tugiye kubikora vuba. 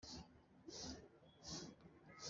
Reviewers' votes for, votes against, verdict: 1, 2, rejected